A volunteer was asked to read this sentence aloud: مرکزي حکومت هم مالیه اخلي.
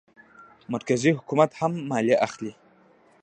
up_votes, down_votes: 0, 2